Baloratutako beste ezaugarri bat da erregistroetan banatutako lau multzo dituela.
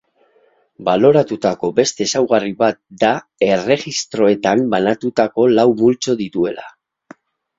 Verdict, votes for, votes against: accepted, 8, 0